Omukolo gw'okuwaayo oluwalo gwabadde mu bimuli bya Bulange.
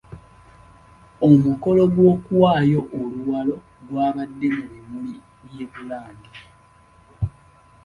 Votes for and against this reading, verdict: 2, 0, accepted